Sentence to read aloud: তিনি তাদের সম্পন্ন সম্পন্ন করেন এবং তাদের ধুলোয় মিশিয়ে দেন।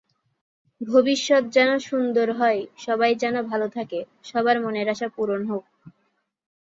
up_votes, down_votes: 1, 9